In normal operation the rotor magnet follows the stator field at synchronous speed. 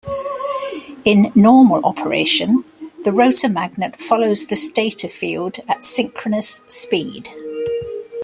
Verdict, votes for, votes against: accepted, 2, 0